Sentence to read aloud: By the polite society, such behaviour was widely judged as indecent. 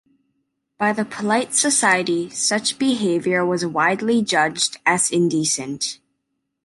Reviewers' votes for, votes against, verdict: 2, 0, accepted